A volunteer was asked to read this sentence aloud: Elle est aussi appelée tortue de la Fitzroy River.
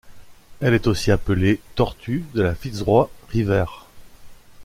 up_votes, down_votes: 1, 2